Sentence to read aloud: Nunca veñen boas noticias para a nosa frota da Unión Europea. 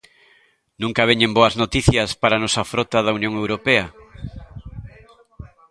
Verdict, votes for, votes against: rejected, 1, 2